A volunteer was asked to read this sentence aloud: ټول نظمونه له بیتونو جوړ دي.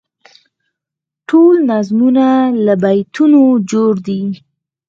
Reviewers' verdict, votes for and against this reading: accepted, 6, 0